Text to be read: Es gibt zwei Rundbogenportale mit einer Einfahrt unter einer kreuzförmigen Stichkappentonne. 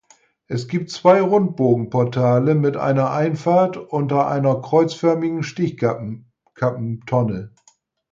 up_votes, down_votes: 0, 4